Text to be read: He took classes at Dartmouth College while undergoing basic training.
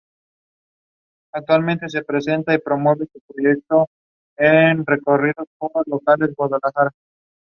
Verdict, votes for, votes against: rejected, 0, 2